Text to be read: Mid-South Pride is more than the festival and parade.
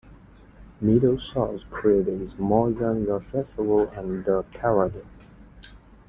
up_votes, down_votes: 0, 2